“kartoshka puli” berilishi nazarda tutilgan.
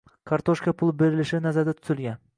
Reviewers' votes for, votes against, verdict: 2, 0, accepted